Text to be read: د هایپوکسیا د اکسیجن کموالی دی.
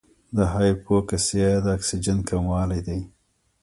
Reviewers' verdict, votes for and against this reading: rejected, 1, 2